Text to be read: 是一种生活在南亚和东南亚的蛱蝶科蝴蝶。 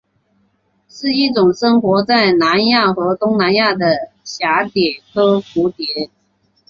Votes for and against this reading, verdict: 2, 1, accepted